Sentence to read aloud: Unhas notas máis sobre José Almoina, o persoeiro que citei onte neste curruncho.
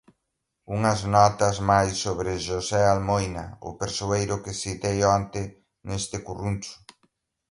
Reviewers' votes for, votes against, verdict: 1, 2, rejected